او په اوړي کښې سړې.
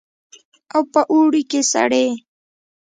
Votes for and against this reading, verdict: 0, 2, rejected